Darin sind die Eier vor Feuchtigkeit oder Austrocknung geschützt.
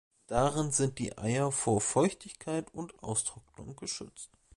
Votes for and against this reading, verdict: 1, 2, rejected